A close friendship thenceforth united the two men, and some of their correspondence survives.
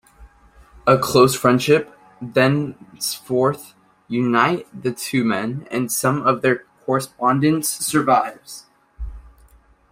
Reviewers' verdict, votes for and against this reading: rejected, 0, 2